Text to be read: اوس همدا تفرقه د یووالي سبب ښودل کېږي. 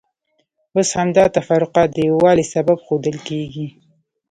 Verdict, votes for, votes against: rejected, 0, 2